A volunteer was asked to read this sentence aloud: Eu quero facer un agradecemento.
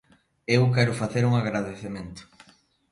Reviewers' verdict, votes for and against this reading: accepted, 2, 0